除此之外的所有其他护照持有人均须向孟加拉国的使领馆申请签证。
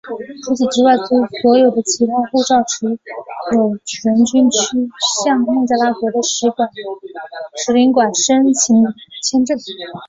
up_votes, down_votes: 0, 3